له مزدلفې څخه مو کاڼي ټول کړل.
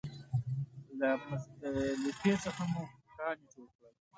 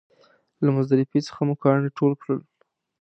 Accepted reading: second